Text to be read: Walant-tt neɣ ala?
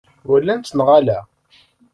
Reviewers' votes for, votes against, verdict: 1, 2, rejected